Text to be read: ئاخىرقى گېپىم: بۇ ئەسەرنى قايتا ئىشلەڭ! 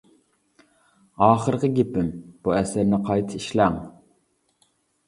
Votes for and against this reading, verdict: 2, 0, accepted